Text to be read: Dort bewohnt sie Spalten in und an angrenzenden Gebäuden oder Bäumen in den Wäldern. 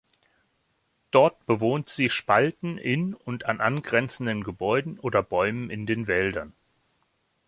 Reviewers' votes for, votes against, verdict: 2, 1, accepted